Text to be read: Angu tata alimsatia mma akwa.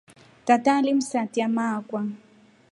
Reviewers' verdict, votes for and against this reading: accepted, 2, 0